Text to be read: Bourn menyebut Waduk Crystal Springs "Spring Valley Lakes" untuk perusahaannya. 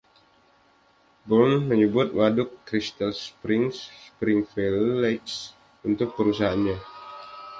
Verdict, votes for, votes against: rejected, 1, 2